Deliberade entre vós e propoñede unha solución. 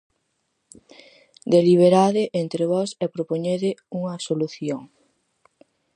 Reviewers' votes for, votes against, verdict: 4, 0, accepted